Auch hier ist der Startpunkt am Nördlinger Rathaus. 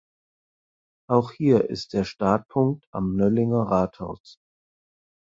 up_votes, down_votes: 2, 4